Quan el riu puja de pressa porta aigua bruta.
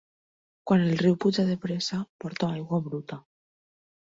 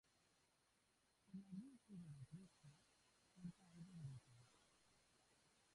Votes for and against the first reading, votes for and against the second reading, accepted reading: 4, 2, 0, 3, first